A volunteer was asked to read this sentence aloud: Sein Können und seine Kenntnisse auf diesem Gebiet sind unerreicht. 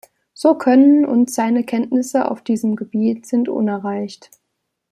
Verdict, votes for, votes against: rejected, 0, 2